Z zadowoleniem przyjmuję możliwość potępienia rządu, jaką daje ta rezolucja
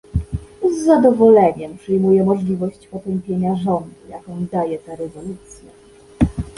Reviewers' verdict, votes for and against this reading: rejected, 1, 2